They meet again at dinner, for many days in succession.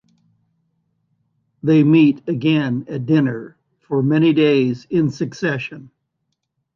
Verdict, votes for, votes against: accepted, 2, 0